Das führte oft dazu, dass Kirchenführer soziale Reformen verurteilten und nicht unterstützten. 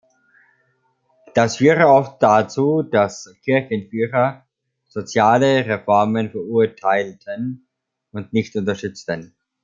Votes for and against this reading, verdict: 1, 3, rejected